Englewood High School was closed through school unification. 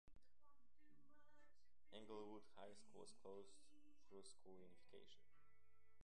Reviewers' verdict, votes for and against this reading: rejected, 1, 2